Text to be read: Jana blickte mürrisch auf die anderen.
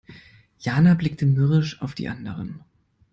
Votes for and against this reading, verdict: 2, 0, accepted